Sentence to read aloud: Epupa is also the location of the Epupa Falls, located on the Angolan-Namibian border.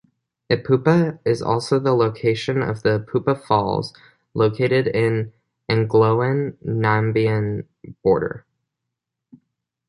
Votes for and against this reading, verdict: 0, 2, rejected